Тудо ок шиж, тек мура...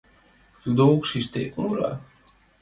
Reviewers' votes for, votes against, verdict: 2, 0, accepted